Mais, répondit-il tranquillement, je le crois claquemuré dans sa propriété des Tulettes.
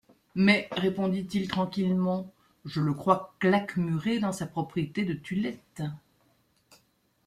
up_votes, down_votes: 1, 2